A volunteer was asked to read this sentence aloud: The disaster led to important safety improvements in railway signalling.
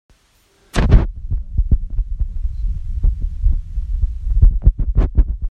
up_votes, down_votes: 0, 2